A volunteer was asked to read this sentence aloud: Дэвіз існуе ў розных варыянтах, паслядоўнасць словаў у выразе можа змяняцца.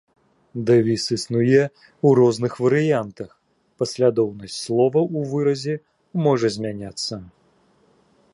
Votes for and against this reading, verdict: 2, 1, accepted